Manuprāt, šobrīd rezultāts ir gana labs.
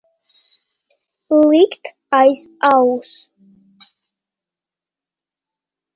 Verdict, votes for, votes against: rejected, 0, 2